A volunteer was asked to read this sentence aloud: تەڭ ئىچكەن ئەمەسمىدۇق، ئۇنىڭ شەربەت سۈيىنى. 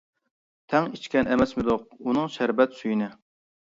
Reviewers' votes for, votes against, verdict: 2, 0, accepted